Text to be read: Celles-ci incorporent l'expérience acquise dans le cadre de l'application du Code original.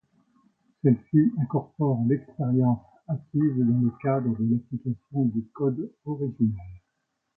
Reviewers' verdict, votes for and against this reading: accepted, 2, 1